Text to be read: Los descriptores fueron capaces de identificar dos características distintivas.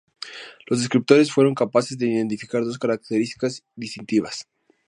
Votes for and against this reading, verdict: 2, 0, accepted